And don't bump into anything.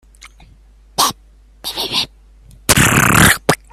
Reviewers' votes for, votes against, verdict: 0, 3, rejected